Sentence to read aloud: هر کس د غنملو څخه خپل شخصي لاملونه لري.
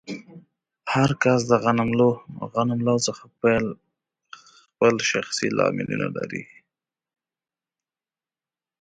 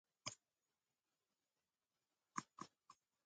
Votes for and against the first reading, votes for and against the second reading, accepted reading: 2, 0, 0, 2, first